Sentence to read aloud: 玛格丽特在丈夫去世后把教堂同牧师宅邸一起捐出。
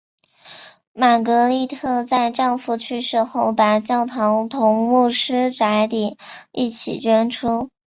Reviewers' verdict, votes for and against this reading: accepted, 2, 1